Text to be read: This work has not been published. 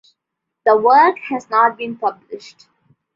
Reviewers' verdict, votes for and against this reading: rejected, 0, 2